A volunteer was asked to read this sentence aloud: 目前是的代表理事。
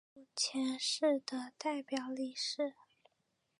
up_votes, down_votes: 0, 2